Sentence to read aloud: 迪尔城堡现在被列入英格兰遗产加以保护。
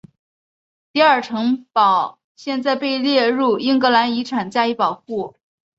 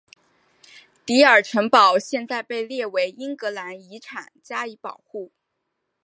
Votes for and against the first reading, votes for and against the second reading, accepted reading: 4, 0, 0, 2, first